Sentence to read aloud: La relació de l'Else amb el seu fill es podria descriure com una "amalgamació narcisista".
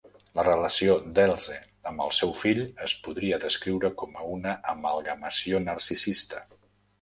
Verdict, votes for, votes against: rejected, 0, 2